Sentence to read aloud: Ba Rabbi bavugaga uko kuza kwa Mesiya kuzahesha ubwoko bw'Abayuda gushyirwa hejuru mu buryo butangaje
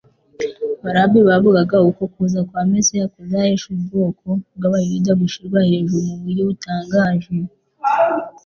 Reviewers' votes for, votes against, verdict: 2, 0, accepted